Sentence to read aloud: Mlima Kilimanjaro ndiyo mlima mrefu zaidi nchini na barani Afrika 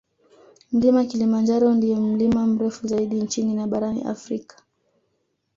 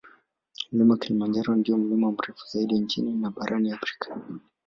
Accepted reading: first